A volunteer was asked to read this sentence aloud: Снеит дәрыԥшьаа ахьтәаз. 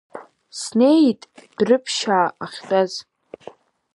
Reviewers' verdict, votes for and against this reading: accepted, 2, 0